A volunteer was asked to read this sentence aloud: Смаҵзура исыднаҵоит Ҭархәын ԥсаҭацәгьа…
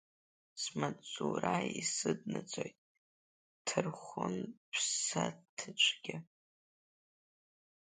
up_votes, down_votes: 2, 0